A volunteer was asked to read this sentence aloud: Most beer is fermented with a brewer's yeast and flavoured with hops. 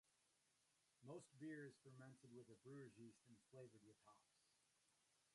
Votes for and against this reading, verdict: 0, 2, rejected